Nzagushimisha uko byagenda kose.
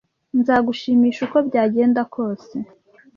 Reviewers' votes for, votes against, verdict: 2, 0, accepted